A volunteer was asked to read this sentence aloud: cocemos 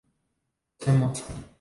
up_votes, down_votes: 0, 2